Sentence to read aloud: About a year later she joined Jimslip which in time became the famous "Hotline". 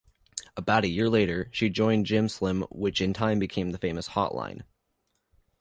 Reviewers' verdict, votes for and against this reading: rejected, 1, 2